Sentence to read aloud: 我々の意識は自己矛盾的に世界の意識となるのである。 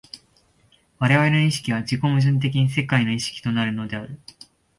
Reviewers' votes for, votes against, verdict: 2, 0, accepted